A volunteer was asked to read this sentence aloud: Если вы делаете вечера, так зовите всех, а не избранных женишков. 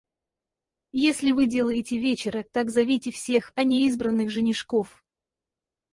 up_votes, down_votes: 2, 2